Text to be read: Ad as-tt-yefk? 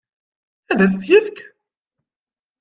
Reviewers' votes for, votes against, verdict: 2, 0, accepted